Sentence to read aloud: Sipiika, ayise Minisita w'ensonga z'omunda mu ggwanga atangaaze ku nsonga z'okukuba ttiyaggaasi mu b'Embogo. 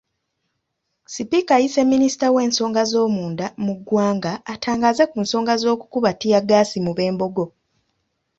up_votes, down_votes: 2, 0